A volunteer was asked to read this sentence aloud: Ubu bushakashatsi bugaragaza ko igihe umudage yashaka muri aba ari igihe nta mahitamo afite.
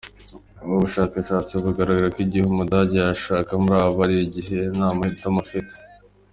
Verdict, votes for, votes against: accepted, 2, 0